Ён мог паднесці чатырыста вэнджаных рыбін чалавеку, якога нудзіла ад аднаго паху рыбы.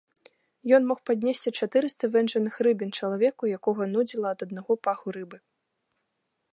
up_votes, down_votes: 2, 0